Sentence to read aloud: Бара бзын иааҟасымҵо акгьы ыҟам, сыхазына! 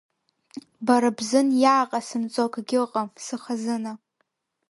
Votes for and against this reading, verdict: 2, 0, accepted